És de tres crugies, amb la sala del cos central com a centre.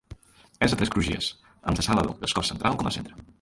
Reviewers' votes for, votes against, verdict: 0, 2, rejected